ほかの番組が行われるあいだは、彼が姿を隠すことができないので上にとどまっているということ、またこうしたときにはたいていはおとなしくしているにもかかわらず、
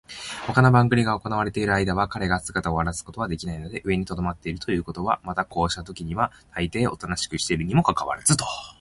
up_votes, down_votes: 2, 3